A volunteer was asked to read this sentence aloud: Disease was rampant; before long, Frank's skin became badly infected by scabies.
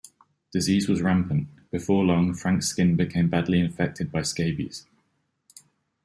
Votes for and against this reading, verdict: 2, 0, accepted